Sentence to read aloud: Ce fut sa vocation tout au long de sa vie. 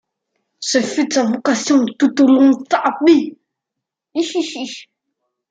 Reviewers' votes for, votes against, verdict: 0, 2, rejected